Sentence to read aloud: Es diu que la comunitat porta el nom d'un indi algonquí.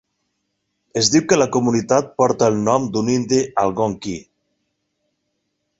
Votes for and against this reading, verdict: 0, 4, rejected